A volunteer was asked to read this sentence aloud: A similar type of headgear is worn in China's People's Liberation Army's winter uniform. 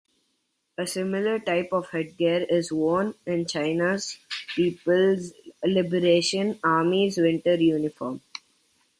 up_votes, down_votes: 2, 0